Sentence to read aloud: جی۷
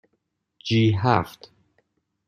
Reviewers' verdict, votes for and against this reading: rejected, 0, 2